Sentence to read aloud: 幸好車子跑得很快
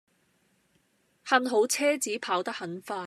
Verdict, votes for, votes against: accepted, 2, 0